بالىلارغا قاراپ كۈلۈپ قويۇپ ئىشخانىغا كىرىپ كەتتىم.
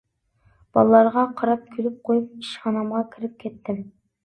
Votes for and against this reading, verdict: 0, 2, rejected